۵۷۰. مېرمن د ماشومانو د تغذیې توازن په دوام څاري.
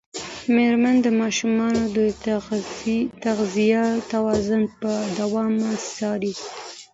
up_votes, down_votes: 0, 2